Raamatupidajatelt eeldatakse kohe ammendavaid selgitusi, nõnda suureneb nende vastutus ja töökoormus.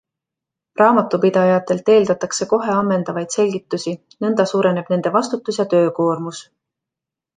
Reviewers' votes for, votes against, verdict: 2, 1, accepted